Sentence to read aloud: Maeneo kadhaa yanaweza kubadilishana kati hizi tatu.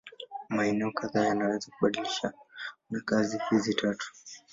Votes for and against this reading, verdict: 1, 2, rejected